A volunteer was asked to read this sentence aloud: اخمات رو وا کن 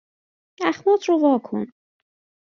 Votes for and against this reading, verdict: 2, 0, accepted